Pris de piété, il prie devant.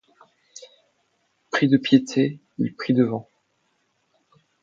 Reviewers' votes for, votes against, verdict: 2, 0, accepted